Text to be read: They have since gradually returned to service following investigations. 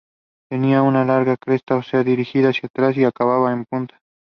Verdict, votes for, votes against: rejected, 0, 2